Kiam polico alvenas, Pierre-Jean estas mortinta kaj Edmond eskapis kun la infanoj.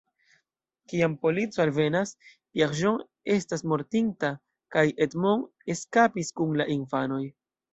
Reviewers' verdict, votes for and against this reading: rejected, 1, 2